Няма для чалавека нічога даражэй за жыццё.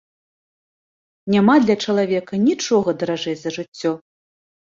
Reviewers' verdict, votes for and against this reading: accepted, 2, 0